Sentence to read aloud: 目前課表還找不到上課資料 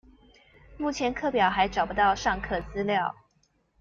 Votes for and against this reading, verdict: 2, 0, accepted